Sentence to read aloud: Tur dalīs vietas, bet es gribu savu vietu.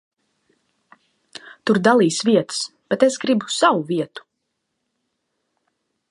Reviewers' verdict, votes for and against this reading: accepted, 2, 0